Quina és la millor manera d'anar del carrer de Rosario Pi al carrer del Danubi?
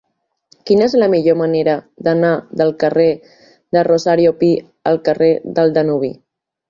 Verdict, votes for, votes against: accepted, 4, 0